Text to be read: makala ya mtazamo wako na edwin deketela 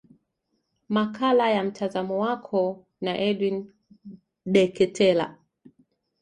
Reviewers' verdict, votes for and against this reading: accepted, 2, 0